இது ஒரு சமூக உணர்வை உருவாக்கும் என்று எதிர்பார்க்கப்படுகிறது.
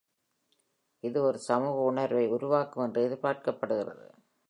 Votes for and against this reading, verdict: 2, 0, accepted